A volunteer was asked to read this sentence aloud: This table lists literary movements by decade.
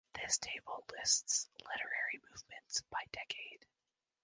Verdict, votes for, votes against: accepted, 2, 0